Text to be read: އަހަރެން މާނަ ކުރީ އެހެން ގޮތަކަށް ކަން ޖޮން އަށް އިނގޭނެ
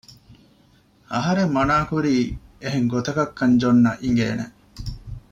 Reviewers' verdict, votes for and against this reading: rejected, 0, 2